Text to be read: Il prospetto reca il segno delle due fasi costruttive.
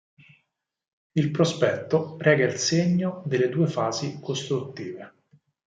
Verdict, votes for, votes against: accepted, 4, 0